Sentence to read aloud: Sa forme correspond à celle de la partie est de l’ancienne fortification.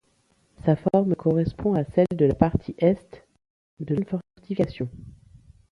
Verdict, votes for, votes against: rejected, 0, 2